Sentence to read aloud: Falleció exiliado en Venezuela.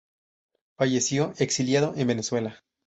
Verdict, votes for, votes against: accepted, 2, 0